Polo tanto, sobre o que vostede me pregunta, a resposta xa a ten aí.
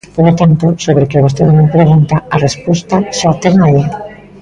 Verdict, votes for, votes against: accepted, 2, 0